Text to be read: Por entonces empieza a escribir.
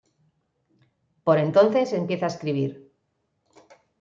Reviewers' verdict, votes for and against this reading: accepted, 2, 0